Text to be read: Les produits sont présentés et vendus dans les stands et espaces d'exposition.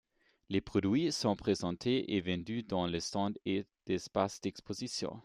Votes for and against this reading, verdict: 1, 2, rejected